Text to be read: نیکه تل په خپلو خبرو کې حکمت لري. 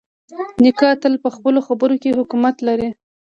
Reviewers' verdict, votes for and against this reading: rejected, 1, 2